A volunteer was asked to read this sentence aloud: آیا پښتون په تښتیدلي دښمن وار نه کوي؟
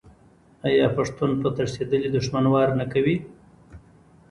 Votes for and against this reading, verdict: 2, 0, accepted